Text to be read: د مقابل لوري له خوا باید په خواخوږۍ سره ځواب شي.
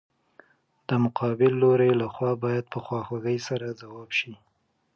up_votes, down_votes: 2, 1